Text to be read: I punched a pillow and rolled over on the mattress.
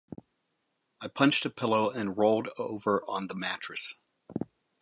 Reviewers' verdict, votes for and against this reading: accepted, 4, 0